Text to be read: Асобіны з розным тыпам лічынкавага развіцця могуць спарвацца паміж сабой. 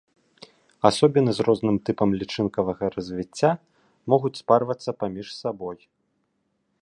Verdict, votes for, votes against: accepted, 2, 0